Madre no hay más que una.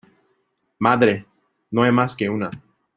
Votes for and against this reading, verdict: 2, 0, accepted